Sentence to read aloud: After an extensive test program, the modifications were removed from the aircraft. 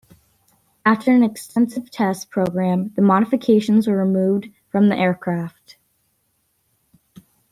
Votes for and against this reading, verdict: 3, 0, accepted